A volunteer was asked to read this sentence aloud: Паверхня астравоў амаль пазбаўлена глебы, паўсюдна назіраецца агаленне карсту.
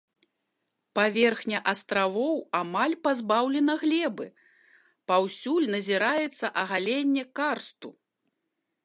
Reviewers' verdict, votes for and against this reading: rejected, 0, 2